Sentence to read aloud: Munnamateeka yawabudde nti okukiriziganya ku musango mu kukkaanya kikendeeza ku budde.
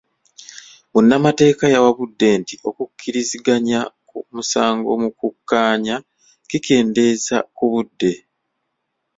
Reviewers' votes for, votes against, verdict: 0, 2, rejected